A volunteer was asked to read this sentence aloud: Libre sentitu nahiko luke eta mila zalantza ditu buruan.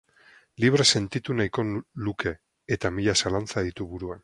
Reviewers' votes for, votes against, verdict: 4, 4, rejected